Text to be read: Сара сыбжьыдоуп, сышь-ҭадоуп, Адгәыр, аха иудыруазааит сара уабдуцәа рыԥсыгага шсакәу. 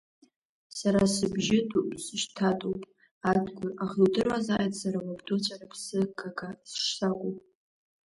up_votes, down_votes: 0, 2